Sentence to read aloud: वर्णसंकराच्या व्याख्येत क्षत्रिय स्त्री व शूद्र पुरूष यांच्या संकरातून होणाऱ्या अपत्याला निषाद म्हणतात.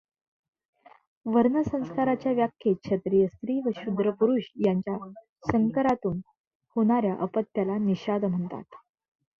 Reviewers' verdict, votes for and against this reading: rejected, 0, 2